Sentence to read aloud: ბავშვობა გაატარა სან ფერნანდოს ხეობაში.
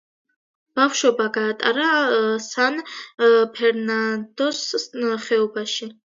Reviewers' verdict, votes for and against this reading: accepted, 2, 1